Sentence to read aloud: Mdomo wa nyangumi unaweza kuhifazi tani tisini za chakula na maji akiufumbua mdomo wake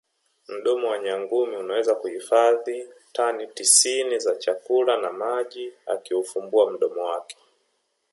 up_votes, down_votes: 2, 0